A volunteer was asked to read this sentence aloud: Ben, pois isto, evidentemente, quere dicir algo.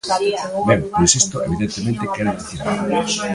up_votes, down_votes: 0, 2